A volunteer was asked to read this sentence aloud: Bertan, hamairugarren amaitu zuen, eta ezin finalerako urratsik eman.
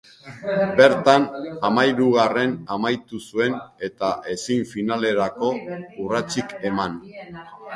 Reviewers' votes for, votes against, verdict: 1, 2, rejected